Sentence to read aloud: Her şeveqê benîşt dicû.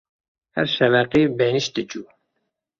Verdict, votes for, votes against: accepted, 2, 0